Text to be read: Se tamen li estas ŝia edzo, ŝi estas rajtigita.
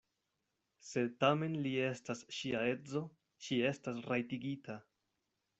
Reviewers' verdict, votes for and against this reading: accepted, 2, 0